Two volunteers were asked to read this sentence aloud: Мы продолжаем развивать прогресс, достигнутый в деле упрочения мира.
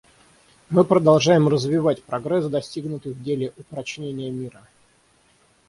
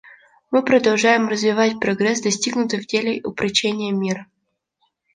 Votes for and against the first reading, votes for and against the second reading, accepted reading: 0, 3, 2, 0, second